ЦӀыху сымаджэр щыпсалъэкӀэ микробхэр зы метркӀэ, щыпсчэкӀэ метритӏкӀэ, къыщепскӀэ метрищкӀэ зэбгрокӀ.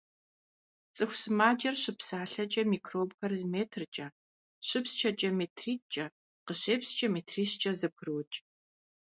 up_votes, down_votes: 2, 0